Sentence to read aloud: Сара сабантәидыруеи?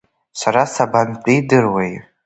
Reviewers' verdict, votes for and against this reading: rejected, 0, 2